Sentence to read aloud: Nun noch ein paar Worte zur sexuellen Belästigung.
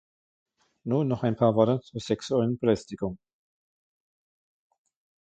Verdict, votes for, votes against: accepted, 2, 1